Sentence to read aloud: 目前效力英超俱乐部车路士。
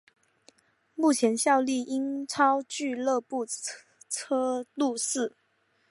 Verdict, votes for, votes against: accepted, 3, 1